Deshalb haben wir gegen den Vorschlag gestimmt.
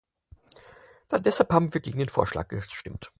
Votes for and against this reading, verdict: 2, 4, rejected